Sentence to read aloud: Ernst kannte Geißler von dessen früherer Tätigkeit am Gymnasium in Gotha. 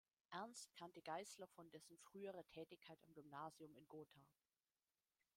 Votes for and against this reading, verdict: 1, 2, rejected